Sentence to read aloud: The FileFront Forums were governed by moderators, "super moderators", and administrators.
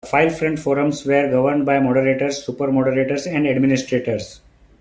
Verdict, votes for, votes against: rejected, 1, 2